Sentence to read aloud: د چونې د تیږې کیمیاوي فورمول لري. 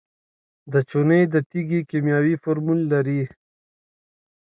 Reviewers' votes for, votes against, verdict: 2, 0, accepted